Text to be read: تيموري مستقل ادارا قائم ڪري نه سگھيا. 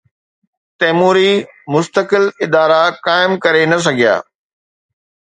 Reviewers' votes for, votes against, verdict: 2, 0, accepted